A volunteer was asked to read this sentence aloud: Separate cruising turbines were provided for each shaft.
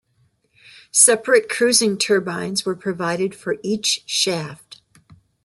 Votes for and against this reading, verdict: 2, 0, accepted